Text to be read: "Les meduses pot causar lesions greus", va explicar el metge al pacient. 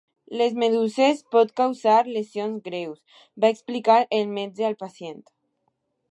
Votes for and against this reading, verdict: 2, 0, accepted